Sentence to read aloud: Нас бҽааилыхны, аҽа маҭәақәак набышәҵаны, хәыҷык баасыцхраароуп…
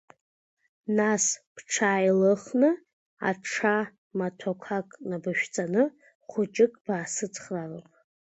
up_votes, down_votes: 2, 1